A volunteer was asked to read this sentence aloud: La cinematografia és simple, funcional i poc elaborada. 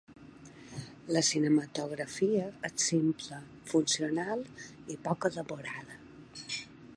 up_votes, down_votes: 2, 1